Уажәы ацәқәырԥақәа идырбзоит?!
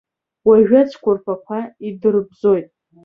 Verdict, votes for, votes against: accepted, 4, 0